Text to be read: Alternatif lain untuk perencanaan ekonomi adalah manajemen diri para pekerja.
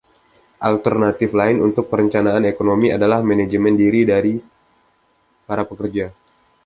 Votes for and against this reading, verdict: 0, 2, rejected